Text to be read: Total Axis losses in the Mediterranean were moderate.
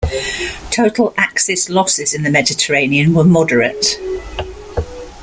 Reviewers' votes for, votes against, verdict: 2, 0, accepted